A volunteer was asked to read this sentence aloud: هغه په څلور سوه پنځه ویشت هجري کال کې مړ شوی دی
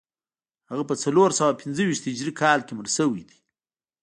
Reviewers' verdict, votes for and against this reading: accepted, 2, 0